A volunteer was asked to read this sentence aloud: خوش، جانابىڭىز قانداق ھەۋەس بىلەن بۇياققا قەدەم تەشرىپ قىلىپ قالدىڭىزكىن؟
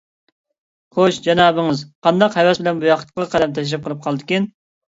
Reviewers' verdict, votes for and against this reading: rejected, 0, 2